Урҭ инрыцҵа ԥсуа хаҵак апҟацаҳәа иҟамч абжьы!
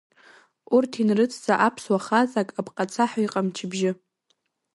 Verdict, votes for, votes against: rejected, 0, 2